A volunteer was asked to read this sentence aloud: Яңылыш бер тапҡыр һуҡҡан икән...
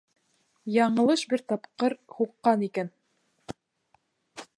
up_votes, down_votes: 2, 0